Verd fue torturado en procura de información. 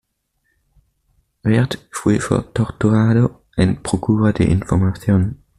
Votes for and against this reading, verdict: 1, 2, rejected